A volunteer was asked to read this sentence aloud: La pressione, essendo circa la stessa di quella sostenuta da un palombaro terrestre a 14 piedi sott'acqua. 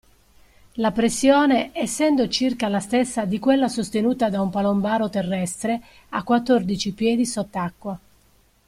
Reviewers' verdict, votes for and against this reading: rejected, 0, 2